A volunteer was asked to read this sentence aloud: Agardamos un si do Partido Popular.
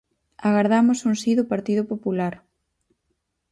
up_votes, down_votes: 4, 0